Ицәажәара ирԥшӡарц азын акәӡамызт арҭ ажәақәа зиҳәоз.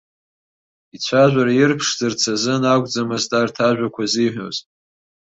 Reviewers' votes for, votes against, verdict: 2, 0, accepted